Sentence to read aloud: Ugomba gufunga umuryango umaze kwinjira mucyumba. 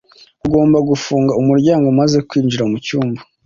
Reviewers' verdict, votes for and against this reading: accepted, 2, 0